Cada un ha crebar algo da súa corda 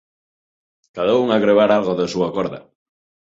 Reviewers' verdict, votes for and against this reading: rejected, 1, 2